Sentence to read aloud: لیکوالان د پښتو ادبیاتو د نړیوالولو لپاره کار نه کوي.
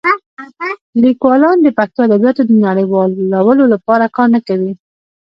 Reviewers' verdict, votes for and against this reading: rejected, 1, 2